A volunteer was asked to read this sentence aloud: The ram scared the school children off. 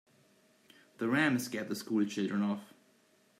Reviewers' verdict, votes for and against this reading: accepted, 3, 0